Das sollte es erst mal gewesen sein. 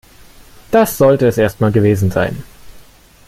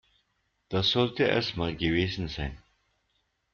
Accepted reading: first